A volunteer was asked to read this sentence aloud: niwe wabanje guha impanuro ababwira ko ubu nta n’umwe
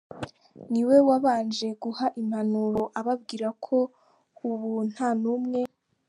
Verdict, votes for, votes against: accepted, 3, 0